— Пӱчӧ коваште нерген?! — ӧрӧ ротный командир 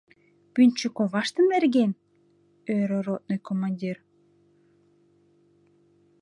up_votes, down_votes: 0, 2